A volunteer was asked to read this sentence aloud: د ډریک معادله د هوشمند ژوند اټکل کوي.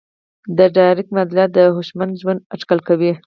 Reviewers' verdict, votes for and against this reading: rejected, 2, 4